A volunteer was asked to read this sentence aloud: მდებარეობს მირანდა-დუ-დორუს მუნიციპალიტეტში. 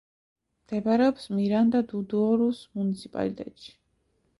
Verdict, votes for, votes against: rejected, 0, 2